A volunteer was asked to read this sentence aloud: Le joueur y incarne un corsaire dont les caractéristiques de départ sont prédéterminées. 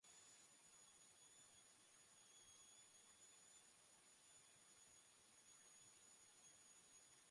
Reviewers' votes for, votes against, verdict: 0, 2, rejected